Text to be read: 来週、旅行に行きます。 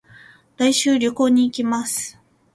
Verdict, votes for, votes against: accepted, 2, 0